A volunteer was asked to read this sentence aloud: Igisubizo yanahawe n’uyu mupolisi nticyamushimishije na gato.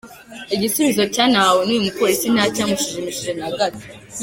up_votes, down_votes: 2, 3